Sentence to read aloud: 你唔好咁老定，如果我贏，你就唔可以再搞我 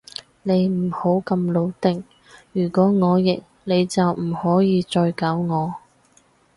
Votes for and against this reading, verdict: 2, 0, accepted